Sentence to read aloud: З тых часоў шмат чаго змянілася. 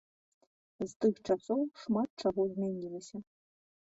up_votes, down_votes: 0, 2